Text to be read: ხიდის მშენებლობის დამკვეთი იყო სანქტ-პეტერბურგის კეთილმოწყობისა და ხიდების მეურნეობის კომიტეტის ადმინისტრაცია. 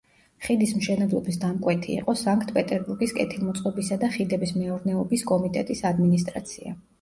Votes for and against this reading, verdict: 1, 2, rejected